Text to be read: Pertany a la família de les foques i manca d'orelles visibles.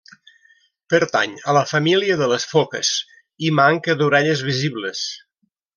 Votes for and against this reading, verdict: 1, 2, rejected